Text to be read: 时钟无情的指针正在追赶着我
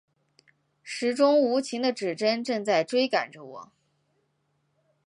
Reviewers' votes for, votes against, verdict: 2, 0, accepted